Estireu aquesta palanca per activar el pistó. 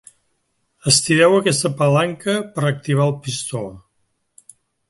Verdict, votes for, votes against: accepted, 2, 0